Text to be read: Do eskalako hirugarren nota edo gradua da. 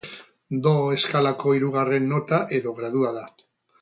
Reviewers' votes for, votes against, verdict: 4, 0, accepted